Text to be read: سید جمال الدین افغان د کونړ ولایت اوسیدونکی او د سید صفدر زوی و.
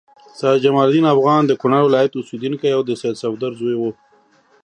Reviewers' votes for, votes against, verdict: 3, 0, accepted